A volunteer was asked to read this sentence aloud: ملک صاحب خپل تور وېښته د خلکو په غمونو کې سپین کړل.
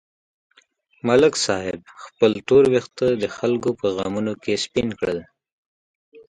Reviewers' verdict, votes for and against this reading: accepted, 2, 0